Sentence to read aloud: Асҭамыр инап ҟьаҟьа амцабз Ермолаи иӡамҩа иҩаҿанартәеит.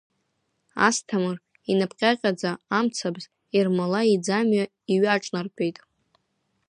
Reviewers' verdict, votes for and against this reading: accepted, 2, 0